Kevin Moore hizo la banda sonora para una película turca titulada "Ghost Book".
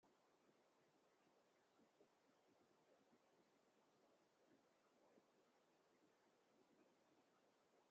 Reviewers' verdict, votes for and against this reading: rejected, 0, 2